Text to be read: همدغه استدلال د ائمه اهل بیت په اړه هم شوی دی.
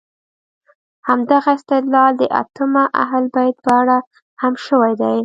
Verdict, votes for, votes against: accepted, 3, 0